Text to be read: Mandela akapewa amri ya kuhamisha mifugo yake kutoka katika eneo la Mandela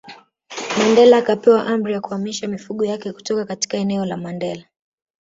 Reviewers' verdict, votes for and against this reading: rejected, 0, 2